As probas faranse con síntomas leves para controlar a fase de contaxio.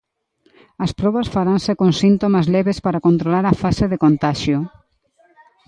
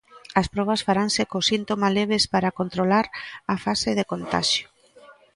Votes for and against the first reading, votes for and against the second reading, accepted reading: 2, 0, 0, 2, first